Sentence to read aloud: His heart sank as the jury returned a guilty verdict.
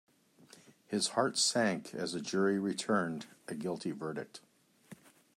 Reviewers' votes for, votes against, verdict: 0, 2, rejected